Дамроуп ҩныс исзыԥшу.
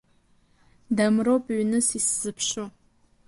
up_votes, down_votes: 2, 1